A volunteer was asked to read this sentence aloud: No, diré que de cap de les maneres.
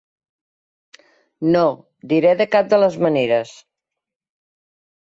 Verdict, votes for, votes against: rejected, 1, 2